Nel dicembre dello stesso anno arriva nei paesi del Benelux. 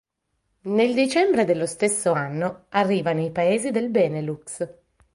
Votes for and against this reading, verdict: 3, 0, accepted